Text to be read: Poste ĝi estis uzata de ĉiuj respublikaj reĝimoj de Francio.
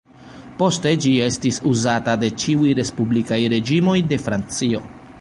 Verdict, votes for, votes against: rejected, 0, 2